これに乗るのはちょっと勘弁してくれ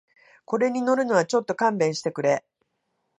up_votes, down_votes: 2, 0